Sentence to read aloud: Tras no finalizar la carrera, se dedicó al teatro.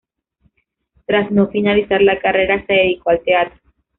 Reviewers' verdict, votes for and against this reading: rejected, 0, 2